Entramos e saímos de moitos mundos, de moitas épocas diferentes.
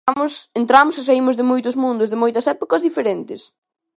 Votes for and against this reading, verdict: 1, 2, rejected